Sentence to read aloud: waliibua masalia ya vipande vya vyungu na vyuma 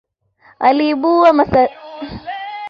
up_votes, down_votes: 0, 2